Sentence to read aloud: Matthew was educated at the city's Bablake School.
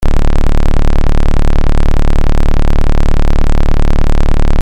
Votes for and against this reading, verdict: 0, 2, rejected